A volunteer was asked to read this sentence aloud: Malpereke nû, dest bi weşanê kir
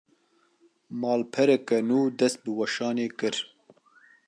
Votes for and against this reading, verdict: 2, 0, accepted